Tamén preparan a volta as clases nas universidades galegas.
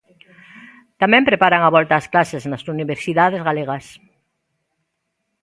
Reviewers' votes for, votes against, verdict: 2, 0, accepted